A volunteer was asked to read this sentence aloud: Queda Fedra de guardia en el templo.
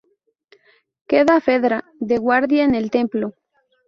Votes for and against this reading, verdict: 2, 0, accepted